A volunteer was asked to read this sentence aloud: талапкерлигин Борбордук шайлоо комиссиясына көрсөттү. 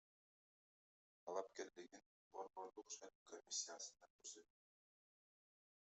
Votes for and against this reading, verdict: 0, 2, rejected